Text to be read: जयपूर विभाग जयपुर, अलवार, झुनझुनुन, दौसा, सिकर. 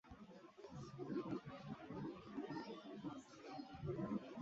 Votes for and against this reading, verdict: 0, 2, rejected